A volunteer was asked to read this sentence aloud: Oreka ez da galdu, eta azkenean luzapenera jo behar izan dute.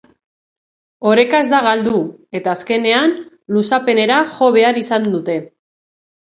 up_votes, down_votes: 2, 0